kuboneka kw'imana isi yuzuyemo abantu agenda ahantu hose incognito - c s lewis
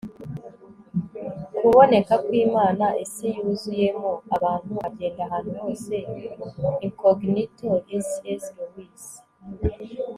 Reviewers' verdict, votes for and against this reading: accepted, 3, 0